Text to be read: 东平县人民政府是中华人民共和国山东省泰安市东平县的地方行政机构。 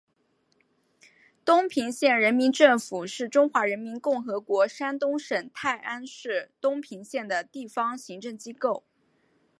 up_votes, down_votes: 2, 0